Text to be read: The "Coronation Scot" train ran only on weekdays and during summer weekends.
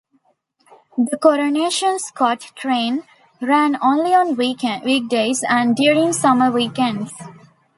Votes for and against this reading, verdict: 0, 2, rejected